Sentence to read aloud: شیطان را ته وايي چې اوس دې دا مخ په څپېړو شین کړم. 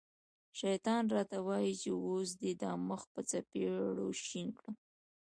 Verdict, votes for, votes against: accepted, 2, 0